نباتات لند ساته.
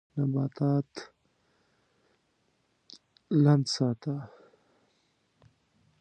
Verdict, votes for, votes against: rejected, 1, 2